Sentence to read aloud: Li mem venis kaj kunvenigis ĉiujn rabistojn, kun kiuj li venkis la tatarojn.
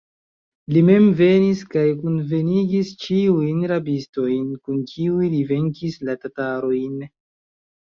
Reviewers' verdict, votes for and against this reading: accepted, 2, 1